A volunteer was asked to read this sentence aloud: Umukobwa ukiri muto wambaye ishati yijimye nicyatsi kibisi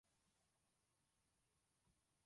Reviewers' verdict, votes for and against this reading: rejected, 0, 2